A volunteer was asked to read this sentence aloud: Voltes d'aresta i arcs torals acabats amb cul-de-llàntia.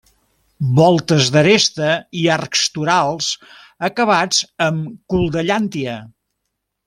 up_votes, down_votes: 2, 0